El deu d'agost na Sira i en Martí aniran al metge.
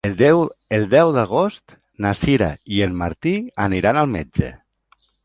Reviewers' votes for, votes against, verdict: 0, 3, rejected